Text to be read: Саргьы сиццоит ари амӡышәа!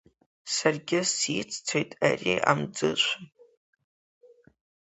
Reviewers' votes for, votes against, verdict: 2, 0, accepted